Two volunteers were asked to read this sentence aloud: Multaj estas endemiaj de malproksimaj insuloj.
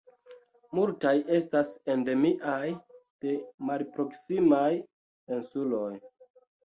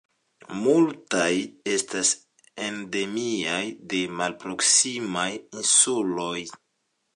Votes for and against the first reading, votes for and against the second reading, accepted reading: 1, 2, 2, 0, second